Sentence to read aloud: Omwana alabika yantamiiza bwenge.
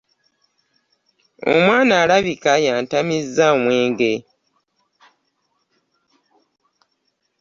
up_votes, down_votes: 0, 2